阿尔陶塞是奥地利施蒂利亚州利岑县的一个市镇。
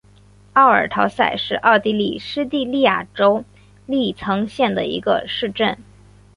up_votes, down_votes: 3, 0